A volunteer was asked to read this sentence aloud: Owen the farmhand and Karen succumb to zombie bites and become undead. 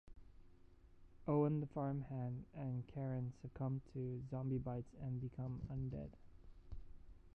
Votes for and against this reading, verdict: 2, 0, accepted